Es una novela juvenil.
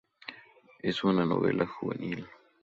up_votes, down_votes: 2, 0